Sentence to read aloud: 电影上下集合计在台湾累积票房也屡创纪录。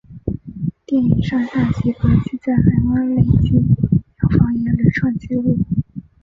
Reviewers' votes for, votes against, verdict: 0, 4, rejected